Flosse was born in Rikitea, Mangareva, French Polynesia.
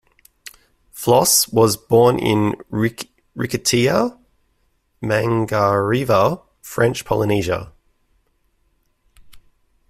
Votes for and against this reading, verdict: 0, 2, rejected